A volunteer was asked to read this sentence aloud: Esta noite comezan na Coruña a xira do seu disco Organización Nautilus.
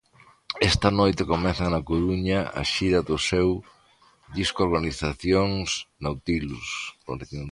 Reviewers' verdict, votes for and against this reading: rejected, 1, 2